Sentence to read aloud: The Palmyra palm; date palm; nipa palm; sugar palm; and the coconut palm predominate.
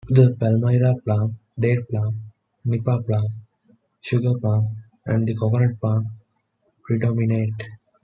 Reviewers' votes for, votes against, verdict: 2, 1, accepted